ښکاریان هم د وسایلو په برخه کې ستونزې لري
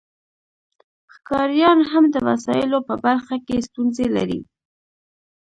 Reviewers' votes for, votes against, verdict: 1, 2, rejected